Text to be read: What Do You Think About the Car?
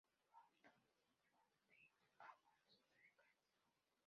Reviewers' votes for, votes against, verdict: 0, 2, rejected